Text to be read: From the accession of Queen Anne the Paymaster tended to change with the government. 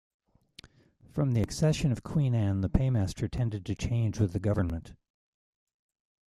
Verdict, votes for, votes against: accepted, 2, 0